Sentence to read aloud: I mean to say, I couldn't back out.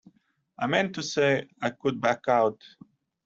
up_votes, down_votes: 1, 2